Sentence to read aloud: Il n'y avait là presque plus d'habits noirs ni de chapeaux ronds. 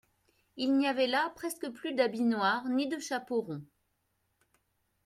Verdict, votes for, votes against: accepted, 2, 0